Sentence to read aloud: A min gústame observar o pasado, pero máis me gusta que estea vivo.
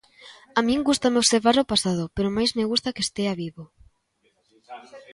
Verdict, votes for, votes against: accepted, 2, 0